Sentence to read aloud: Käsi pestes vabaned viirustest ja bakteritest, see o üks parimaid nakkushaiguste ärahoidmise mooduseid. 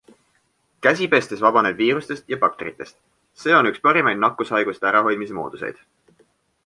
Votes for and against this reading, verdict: 2, 0, accepted